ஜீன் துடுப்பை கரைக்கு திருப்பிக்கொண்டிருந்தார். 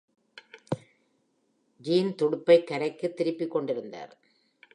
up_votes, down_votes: 2, 0